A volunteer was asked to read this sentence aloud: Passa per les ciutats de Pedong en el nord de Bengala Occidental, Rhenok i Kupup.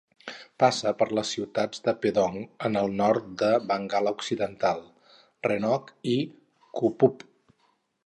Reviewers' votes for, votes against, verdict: 2, 2, rejected